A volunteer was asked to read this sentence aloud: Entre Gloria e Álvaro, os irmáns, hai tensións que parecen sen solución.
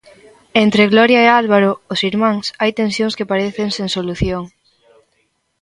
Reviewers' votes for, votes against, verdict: 1, 2, rejected